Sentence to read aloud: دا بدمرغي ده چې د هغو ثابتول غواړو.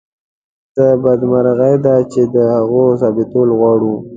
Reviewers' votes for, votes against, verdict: 1, 2, rejected